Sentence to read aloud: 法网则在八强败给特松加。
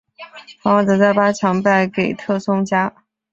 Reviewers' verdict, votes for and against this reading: accepted, 3, 0